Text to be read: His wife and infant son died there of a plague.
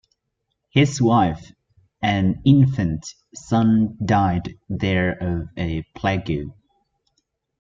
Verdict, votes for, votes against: rejected, 0, 2